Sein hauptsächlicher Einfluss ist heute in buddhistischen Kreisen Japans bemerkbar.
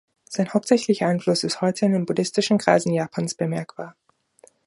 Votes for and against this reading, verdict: 1, 2, rejected